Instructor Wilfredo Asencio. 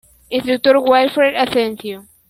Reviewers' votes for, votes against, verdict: 1, 2, rejected